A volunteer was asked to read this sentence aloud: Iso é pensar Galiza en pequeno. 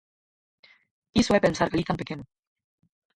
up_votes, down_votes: 0, 4